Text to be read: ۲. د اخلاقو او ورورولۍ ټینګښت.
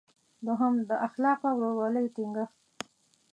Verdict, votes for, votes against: rejected, 0, 2